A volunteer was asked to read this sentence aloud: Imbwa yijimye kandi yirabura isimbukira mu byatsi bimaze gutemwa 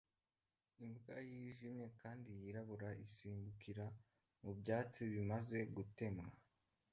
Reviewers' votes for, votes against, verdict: 1, 2, rejected